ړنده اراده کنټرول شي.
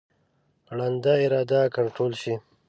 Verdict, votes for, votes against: rejected, 1, 2